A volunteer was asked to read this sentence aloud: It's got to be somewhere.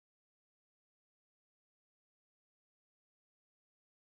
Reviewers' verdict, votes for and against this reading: rejected, 0, 2